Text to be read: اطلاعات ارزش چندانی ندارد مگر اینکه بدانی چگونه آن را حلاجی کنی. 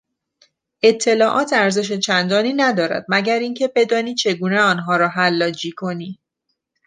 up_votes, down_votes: 1, 2